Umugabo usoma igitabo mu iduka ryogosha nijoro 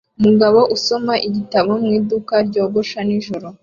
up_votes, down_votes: 2, 0